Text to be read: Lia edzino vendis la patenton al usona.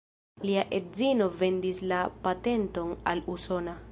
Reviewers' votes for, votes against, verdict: 2, 0, accepted